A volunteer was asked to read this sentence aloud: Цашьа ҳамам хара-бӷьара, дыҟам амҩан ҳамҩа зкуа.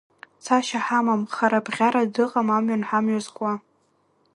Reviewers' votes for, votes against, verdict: 1, 2, rejected